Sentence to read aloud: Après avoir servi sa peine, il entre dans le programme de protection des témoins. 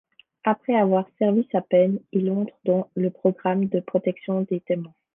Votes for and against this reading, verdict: 2, 0, accepted